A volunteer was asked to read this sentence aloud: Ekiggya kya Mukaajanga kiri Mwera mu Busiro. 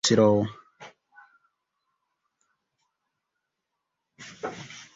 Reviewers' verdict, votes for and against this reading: rejected, 0, 2